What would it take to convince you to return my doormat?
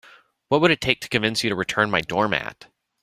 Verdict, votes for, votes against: accepted, 2, 0